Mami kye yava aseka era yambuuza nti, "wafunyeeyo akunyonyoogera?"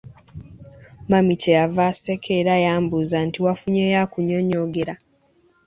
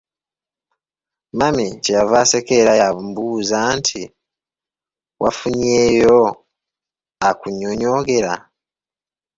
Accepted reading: first